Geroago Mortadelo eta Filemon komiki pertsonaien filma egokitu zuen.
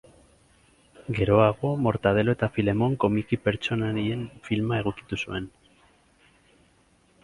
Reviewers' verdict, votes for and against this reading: accepted, 6, 2